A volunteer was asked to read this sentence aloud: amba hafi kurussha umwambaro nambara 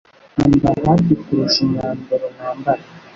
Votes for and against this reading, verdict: 1, 2, rejected